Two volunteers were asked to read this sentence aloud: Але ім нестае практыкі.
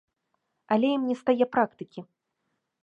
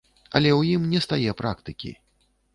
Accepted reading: first